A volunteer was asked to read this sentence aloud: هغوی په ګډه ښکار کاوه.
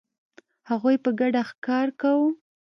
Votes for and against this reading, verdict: 1, 2, rejected